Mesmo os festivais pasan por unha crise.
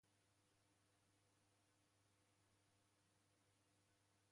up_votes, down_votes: 0, 2